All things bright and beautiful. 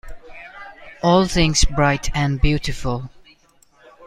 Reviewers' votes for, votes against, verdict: 2, 1, accepted